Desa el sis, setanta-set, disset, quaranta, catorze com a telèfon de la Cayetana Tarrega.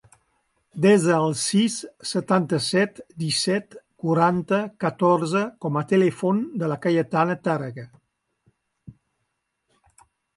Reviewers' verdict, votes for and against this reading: accepted, 2, 1